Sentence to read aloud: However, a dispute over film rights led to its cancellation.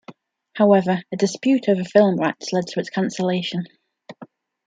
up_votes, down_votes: 2, 1